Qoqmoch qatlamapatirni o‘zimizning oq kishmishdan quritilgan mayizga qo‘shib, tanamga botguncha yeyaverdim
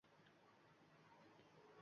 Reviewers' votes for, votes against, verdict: 0, 2, rejected